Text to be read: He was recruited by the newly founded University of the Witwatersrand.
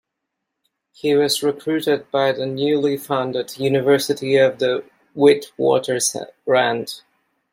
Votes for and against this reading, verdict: 1, 2, rejected